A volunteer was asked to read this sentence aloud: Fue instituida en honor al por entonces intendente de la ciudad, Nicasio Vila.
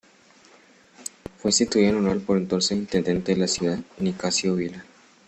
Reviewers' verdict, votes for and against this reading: rejected, 0, 2